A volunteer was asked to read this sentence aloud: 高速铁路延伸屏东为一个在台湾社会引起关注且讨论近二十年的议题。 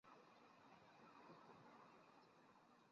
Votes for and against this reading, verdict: 1, 2, rejected